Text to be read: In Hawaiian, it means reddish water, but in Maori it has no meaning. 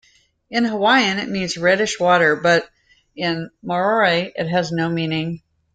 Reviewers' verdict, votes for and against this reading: rejected, 0, 2